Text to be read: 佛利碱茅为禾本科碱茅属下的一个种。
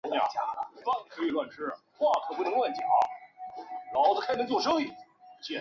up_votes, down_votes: 1, 2